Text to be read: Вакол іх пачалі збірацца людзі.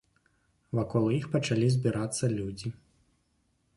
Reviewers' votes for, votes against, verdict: 2, 0, accepted